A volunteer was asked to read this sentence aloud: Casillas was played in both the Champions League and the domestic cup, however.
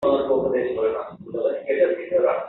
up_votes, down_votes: 0, 2